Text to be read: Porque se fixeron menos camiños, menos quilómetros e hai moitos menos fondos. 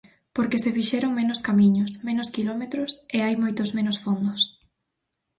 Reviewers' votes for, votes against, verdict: 4, 0, accepted